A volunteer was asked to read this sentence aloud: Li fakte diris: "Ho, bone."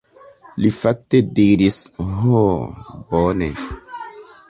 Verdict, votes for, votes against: accepted, 2, 1